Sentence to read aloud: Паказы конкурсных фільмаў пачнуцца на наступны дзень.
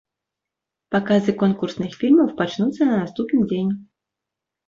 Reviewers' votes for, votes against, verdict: 2, 0, accepted